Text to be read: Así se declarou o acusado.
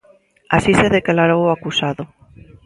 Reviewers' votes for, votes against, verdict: 2, 0, accepted